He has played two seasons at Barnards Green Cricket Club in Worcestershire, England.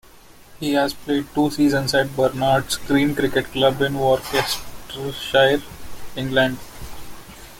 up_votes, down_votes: 2, 0